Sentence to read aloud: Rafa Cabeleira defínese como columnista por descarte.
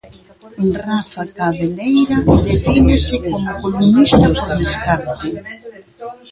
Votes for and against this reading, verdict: 0, 2, rejected